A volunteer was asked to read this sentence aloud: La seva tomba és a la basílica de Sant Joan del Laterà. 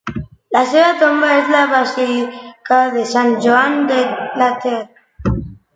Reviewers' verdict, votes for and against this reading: rejected, 0, 2